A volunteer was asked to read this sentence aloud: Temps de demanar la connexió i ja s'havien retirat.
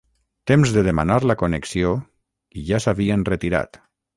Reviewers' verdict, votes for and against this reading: rejected, 0, 3